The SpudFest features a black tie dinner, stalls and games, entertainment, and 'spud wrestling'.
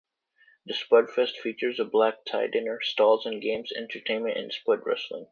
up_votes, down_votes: 2, 1